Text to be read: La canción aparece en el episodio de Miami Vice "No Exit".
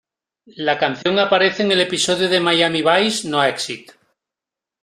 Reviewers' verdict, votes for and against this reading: accepted, 2, 0